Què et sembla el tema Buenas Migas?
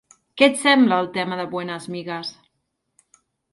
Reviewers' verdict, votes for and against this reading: rejected, 1, 2